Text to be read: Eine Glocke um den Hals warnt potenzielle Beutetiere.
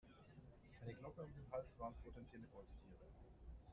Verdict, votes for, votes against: rejected, 1, 2